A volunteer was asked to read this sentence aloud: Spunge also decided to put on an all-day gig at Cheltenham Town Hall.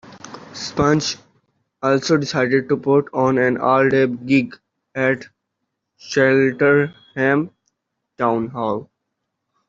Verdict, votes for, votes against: accepted, 2, 1